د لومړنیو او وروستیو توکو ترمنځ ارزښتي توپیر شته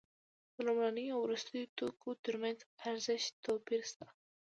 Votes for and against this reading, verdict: 2, 1, accepted